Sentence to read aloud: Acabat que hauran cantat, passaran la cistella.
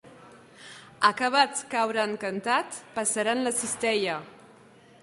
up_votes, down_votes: 1, 2